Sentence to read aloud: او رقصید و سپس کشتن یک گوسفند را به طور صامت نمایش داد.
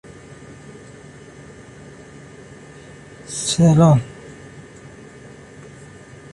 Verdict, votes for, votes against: rejected, 0, 2